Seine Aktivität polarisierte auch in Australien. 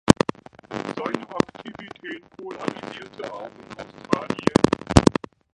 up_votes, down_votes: 1, 2